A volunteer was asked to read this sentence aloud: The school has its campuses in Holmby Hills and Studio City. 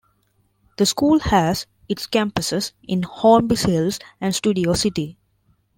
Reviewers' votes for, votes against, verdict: 1, 2, rejected